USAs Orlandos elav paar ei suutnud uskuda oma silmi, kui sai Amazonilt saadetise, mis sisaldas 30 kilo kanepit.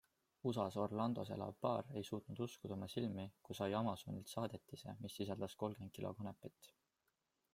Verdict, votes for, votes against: rejected, 0, 2